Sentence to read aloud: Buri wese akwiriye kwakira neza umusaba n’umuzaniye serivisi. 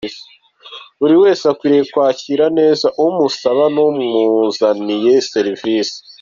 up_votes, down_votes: 2, 0